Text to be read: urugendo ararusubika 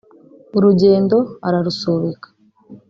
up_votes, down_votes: 0, 2